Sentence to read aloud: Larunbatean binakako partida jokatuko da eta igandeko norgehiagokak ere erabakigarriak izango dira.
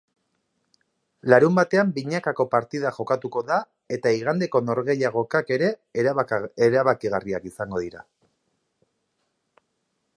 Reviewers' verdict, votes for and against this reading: rejected, 1, 3